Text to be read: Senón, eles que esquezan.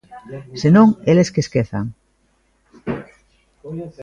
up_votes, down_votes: 1, 2